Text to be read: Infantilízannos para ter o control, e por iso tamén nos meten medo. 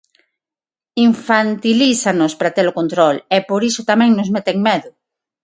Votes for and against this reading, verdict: 6, 0, accepted